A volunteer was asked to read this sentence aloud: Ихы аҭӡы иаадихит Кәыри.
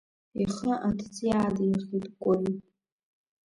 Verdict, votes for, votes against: accepted, 2, 1